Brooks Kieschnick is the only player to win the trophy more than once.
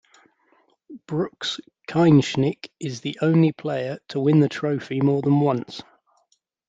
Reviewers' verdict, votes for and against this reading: rejected, 1, 2